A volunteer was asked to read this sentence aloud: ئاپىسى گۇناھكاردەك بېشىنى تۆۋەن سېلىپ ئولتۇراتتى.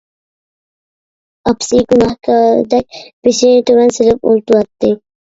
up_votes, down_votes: 0, 2